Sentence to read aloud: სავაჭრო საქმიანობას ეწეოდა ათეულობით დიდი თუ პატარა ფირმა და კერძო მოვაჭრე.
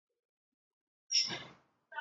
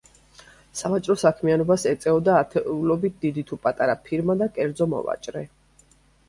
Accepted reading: second